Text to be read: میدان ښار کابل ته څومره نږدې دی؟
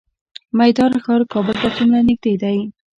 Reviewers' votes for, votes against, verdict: 2, 0, accepted